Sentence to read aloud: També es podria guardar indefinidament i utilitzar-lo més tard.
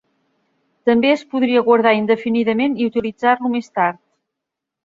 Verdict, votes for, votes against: accepted, 3, 0